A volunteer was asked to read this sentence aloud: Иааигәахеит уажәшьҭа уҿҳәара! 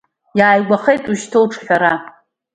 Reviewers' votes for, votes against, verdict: 2, 1, accepted